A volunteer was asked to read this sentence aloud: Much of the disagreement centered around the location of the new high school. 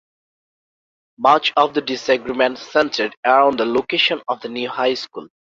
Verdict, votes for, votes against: rejected, 1, 2